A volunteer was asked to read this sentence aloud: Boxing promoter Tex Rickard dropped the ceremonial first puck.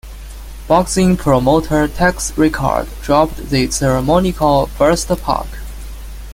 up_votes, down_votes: 0, 2